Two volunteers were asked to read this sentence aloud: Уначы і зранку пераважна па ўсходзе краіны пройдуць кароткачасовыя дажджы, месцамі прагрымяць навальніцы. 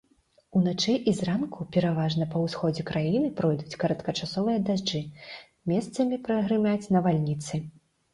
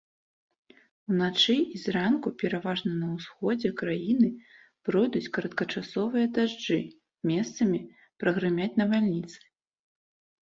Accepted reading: first